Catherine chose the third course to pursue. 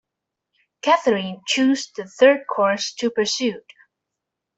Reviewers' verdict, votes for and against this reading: rejected, 1, 2